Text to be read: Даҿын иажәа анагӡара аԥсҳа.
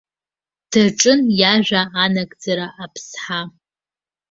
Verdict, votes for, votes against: accepted, 2, 0